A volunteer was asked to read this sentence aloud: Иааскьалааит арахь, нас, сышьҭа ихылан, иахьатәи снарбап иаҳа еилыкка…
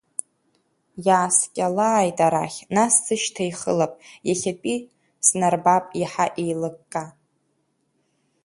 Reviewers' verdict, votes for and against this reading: rejected, 1, 2